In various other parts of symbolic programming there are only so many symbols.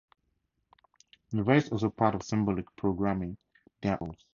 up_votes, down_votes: 0, 4